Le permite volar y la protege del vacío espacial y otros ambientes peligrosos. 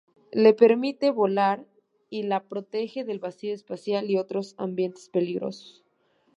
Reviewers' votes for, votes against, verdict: 3, 0, accepted